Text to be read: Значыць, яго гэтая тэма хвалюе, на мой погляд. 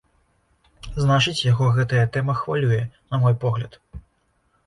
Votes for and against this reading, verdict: 2, 0, accepted